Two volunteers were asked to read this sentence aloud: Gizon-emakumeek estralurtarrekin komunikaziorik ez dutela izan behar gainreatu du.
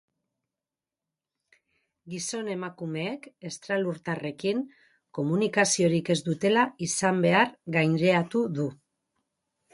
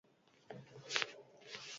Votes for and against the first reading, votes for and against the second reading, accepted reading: 4, 2, 0, 4, first